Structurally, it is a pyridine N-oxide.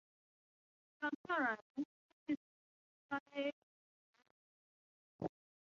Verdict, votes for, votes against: rejected, 0, 3